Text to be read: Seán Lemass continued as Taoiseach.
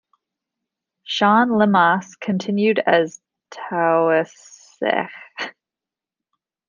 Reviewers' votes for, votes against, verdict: 0, 2, rejected